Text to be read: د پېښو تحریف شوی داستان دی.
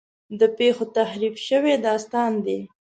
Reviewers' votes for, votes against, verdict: 2, 0, accepted